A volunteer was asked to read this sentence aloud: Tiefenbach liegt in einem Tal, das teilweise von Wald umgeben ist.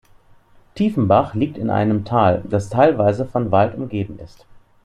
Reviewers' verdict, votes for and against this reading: accepted, 2, 0